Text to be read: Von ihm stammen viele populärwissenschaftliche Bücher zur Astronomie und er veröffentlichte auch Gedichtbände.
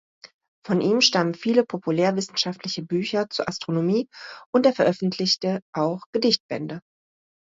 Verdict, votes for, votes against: accepted, 2, 1